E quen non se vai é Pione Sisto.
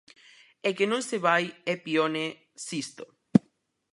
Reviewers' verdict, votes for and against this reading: rejected, 0, 4